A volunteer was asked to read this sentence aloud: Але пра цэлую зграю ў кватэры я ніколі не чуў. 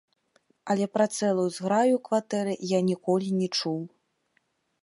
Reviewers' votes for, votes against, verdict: 1, 2, rejected